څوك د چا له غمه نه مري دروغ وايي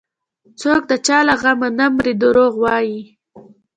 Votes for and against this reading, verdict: 2, 0, accepted